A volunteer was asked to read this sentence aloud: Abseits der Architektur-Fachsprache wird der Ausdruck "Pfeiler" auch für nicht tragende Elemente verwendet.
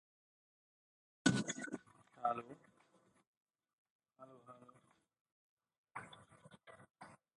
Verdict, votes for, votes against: rejected, 0, 2